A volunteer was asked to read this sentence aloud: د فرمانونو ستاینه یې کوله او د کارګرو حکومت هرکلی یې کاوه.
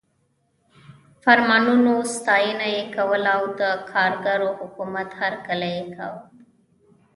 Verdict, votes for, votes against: rejected, 1, 2